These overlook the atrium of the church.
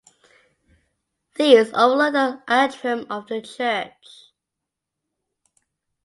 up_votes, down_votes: 0, 2